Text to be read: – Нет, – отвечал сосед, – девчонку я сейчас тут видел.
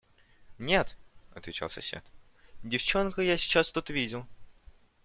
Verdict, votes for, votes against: accepted, 2, 0